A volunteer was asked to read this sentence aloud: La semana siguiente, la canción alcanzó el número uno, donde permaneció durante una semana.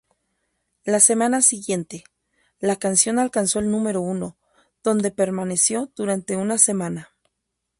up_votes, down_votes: 0, 2